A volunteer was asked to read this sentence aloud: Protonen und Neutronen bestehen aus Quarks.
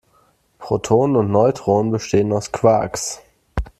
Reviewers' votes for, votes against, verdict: 2, 0, accepted